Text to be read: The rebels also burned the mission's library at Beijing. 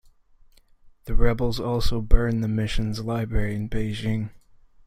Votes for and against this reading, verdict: 2, 1, accepted